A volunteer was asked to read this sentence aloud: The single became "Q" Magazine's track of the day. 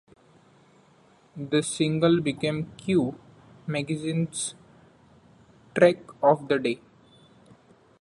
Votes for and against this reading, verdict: 0, 2, rejected